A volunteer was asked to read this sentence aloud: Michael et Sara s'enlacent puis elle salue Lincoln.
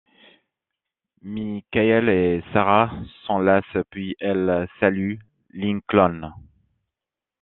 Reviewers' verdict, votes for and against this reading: accepted, 2, 0